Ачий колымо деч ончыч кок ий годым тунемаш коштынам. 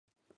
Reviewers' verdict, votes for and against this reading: rejected, 1, 2